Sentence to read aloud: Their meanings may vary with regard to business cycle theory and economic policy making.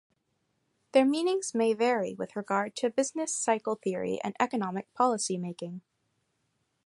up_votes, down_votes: 2, 0